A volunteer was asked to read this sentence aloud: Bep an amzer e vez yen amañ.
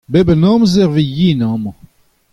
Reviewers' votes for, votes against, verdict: 2, 0, accepted